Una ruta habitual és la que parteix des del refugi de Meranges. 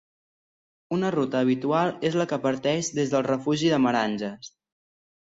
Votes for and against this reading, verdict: 2, 0, accepted